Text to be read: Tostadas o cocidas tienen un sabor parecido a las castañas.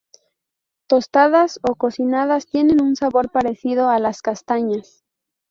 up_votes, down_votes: 0, 2